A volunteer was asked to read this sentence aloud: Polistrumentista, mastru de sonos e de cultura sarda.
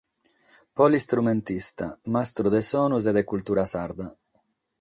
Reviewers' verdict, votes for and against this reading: accepted, 6, 0